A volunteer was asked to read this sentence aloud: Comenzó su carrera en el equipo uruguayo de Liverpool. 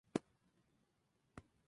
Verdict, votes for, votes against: rejected, 0, 2